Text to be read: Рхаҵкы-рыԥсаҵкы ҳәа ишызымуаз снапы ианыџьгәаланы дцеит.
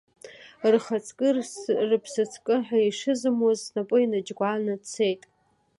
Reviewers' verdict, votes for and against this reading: rejected, 0, 2